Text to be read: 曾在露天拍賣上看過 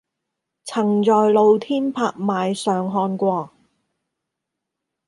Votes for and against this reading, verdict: 0, 2, rejected